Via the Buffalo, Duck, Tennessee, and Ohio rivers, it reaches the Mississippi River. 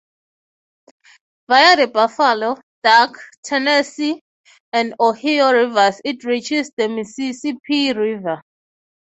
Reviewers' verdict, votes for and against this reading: rejected, 0, 3